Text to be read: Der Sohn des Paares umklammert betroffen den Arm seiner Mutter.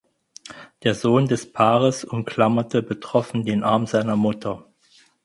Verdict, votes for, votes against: rejected, 0, 4